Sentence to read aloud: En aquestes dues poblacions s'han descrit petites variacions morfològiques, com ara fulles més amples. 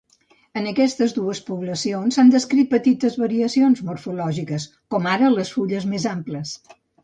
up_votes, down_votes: 0, 2